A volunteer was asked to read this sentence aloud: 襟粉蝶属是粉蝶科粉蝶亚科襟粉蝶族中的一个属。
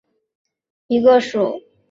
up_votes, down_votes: 0, 2